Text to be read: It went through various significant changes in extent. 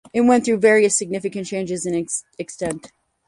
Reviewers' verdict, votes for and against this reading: accepted, 4, 2